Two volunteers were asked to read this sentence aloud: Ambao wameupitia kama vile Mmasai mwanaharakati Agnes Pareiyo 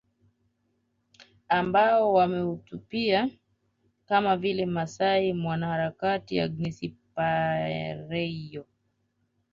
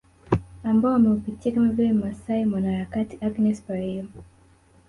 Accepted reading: second